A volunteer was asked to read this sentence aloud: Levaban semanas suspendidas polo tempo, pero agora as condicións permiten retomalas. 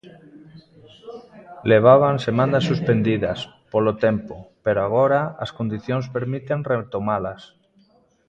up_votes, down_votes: 1, 2